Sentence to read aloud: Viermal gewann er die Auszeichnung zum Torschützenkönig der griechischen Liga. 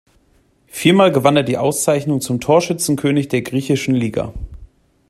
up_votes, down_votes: 2, 0